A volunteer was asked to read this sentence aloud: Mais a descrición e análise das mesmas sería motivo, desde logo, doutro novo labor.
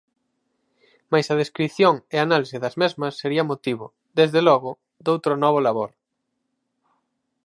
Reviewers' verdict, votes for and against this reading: rejected, 2, 2